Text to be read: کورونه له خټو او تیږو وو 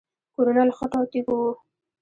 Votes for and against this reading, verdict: 1, 2, rejected